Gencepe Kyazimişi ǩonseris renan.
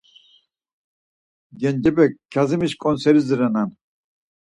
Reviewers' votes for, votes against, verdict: 4, 0, accepted